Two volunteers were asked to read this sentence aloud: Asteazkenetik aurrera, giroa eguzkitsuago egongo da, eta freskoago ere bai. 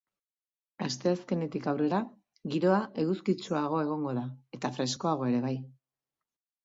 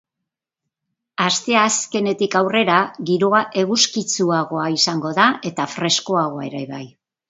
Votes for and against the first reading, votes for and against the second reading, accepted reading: 3, 0, 0, 2, first